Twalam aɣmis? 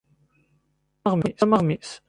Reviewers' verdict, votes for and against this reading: rejected, 1, 2